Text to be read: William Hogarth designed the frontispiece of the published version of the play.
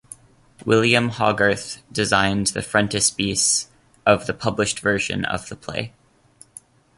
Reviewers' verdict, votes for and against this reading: accepted, 2, 0